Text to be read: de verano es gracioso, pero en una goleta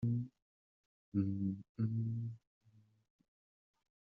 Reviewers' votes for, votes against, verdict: 0, 2, rejected